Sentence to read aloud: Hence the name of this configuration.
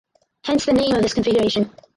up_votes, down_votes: 4, 0